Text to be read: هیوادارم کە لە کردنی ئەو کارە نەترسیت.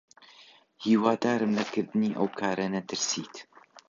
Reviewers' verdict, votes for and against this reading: rejected, 1, 2